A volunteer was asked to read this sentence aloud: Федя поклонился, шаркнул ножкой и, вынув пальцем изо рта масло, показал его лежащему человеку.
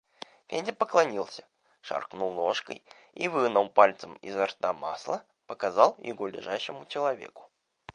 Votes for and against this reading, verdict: 0, 2, rejected